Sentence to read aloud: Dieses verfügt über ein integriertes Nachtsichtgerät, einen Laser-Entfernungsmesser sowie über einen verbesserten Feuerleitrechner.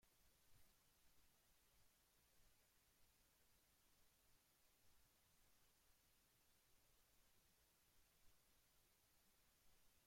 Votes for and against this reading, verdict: 0, 2, rejected